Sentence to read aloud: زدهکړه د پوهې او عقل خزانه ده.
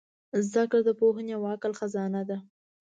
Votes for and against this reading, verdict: 2, 0, accepted